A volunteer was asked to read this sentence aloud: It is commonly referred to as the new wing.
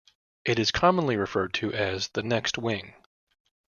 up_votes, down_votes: 0, 2